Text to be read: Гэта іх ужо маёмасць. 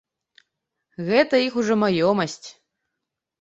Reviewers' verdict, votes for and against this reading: accepted, 2, 0